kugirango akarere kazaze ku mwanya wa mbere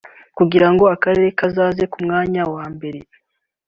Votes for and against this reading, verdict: 2, 1, accepted